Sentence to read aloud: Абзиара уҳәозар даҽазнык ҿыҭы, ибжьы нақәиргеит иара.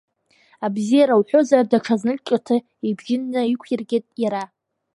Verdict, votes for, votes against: accepted, 2, 1